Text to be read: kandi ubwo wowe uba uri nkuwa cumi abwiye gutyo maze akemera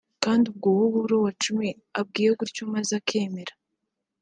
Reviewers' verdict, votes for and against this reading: rejected, 1, 2